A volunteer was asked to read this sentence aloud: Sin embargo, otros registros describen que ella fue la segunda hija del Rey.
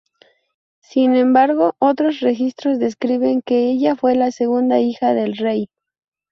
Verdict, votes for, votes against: rejected, 0, 2